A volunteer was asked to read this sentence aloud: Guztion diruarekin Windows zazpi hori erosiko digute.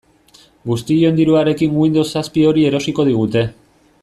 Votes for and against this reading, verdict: 2, 0, accepted